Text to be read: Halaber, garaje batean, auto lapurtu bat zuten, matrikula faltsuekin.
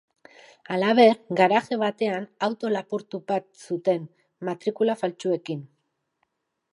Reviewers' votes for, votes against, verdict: 1, 2, rejected